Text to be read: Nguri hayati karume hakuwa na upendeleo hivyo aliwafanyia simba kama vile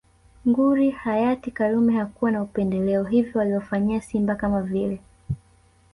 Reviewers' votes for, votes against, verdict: 1, 2, rejected